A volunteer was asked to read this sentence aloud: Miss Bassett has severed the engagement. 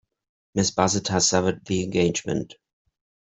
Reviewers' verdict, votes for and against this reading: accepted, 2, 0